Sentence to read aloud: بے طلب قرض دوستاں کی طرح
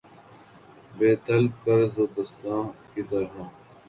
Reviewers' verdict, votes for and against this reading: accepted, 7, 1